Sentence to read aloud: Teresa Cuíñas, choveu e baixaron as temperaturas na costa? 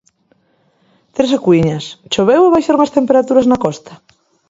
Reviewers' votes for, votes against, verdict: 2, 1, accepted